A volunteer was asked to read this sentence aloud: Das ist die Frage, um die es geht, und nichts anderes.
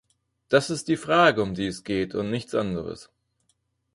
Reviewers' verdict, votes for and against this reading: accepted, 4, 0